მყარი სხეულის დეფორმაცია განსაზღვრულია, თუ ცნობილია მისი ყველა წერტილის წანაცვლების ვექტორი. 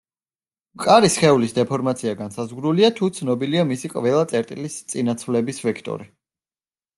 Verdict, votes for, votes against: rejected, 0, 2